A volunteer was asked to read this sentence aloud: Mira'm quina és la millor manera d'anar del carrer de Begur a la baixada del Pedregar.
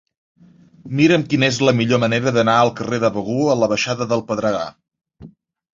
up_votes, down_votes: 0, 2